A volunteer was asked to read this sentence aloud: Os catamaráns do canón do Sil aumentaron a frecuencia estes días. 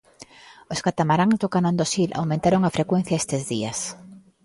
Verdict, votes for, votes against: accepted, 2, 1